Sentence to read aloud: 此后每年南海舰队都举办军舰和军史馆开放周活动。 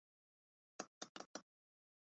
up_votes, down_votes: 0, 5